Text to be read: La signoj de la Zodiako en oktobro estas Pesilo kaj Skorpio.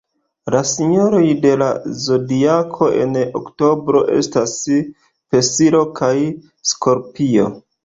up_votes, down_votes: 1, 3